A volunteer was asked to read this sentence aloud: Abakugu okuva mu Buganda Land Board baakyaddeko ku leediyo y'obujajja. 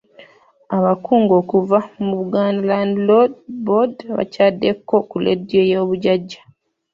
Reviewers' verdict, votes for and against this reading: rejected, 1, 2